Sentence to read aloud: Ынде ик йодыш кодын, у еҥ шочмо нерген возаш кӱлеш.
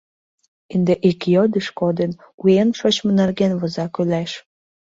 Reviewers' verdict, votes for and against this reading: rejected, 0, 2